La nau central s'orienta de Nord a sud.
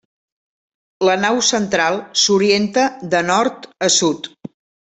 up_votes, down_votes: 3, 0